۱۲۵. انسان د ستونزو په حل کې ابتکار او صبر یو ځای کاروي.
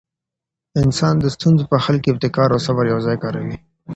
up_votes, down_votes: 0, 2